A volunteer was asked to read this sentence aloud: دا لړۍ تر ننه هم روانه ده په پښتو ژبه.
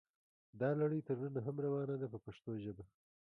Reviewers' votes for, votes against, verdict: 2, 0, accepted